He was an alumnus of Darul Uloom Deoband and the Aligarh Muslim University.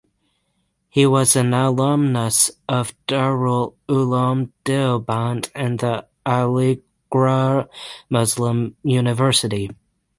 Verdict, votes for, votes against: rejected, 0, 3